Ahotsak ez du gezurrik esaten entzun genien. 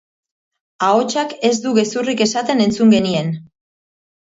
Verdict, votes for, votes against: accepted, 2, 1